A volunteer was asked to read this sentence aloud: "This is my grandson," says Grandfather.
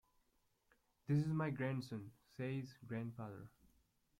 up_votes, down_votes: 1, 2